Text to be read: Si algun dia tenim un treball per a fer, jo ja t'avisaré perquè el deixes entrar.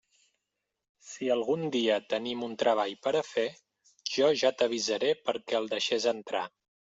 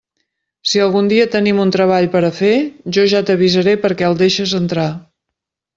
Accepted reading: second